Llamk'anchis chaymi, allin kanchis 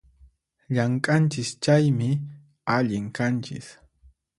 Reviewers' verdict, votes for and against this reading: accepted, 4, 0